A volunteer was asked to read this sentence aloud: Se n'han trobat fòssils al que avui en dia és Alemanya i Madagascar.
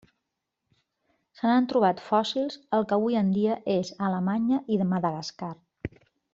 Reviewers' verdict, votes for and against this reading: rejected, 0, 2